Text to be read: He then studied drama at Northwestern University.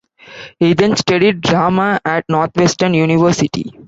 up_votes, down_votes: 0, 2